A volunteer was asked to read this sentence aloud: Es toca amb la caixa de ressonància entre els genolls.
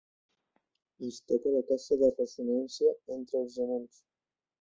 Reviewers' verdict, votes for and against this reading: rejected, 1, 2